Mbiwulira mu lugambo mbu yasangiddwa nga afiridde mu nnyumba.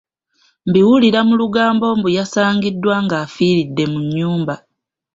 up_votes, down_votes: 2, 0